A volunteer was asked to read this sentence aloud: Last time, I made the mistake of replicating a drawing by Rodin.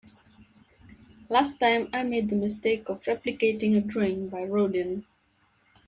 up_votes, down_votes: 2, 1